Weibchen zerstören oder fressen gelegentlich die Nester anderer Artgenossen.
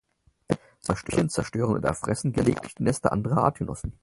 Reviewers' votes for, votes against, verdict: 0, 4, rejected